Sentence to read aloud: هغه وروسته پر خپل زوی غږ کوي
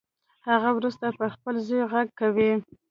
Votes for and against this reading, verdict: 1, 2, rejected